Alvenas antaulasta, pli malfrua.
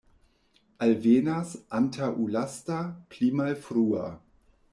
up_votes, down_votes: 0, 2